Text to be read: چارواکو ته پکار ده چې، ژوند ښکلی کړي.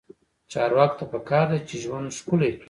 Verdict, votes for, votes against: rejected, 1, 2